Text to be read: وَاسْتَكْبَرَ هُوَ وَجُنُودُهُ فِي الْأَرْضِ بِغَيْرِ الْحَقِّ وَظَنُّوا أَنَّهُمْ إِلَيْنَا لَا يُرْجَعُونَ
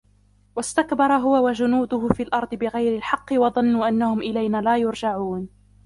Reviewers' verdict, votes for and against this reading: rejected, 1, 2